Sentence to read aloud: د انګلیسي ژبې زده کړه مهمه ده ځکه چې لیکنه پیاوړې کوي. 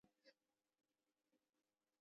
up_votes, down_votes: 1, 2